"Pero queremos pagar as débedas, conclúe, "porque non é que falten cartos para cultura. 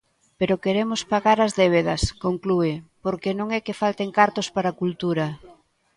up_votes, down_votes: 3, 0